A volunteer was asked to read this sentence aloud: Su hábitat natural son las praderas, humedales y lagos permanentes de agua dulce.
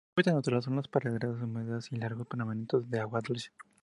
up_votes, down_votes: 0, 2